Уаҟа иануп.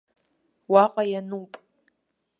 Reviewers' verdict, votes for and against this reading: accepted, 2, 0